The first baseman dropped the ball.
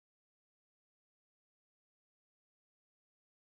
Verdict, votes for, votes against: rejected, 0, 2